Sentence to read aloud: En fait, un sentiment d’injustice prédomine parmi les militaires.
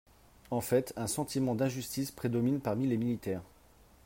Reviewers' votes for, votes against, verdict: 3, 0, accepted